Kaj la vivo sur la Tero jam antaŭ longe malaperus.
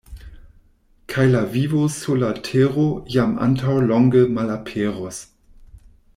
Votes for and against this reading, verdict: 2, 0, accepted